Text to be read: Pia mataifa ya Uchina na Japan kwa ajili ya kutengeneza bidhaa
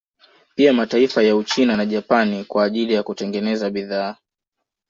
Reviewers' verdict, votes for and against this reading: accepted, 2, 0